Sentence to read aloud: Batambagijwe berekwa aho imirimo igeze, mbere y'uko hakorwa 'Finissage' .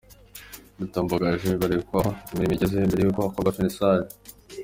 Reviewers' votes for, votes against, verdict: 2, 1, accepted